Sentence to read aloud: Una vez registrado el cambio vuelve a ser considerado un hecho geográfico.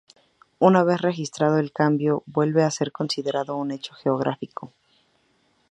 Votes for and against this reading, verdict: 4, 0, accepted